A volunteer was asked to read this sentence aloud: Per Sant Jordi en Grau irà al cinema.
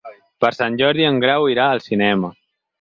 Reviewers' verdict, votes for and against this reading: accepted, 4, 0